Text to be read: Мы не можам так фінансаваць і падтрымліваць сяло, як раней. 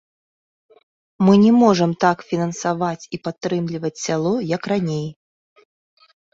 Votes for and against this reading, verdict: 2, 0, accepted